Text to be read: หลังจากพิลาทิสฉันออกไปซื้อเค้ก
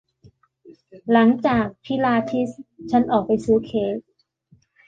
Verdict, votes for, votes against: accepted, 2, 0